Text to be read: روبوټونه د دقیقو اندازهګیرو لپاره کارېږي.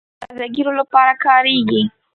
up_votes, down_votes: 0, 2